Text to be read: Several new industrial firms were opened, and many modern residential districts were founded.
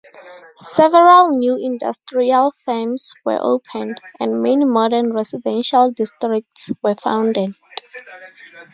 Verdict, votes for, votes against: rejected, 0, 2